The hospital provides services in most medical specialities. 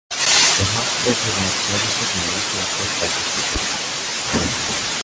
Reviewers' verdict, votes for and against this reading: rejected, 0, 2